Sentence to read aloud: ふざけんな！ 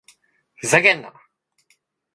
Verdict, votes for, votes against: accepted, 2, 0